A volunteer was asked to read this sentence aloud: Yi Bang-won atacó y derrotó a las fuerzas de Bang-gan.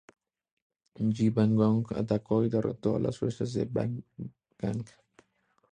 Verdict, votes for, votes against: rejected, 2, 2